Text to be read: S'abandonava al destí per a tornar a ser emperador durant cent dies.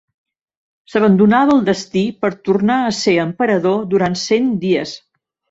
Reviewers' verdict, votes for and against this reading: rejected, 1, 2